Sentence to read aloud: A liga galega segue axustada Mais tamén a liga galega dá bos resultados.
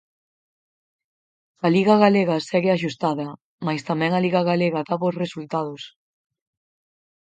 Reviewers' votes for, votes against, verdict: 4, 0, accepted